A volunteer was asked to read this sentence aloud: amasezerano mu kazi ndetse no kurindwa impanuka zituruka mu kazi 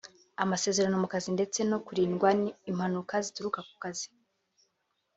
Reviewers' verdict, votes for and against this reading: accepted, 3, 1